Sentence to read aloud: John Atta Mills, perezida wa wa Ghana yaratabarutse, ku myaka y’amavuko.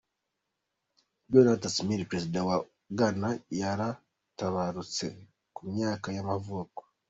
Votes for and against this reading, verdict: 1, 2, rejected